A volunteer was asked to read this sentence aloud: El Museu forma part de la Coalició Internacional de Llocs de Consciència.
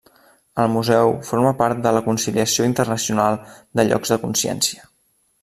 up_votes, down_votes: 0, 2